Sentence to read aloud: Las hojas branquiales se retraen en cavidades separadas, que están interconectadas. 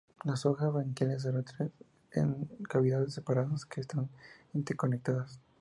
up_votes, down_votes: 0, 2